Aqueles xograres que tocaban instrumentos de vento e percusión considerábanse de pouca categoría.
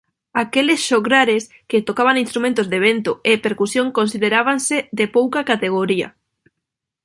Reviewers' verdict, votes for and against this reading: accepted, 2, 0